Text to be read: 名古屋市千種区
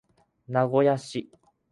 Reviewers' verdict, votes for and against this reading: rejected, 0, 2